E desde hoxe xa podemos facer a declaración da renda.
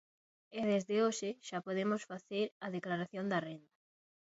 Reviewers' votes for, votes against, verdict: 0, 2, rejected